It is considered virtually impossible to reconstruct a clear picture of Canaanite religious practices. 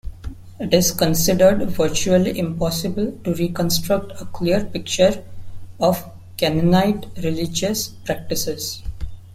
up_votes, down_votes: 2, 0